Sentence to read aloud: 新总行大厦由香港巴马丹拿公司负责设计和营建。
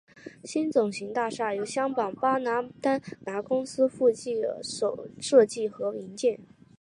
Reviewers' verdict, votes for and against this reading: accepted, 4, 2